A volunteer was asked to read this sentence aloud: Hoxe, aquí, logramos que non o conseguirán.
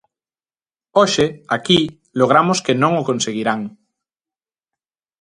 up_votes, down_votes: 2, 0